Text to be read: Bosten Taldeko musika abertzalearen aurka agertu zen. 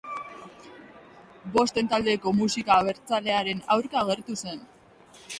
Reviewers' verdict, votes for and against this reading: accepted, 2, 0